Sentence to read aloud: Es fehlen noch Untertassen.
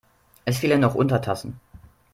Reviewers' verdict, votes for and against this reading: accepted, 2, 0